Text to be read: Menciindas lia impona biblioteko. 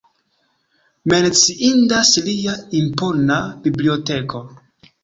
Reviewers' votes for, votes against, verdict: 2, 0, accepted